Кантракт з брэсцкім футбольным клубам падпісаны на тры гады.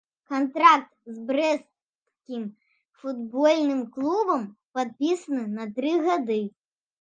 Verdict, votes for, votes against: accepted, 2, 0